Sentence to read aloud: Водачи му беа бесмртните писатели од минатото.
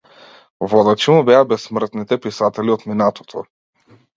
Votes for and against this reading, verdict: 2, 0, accepted